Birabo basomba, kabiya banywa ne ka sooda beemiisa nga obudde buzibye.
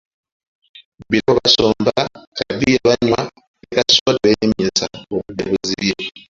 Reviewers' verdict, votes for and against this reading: rejected, 1, 2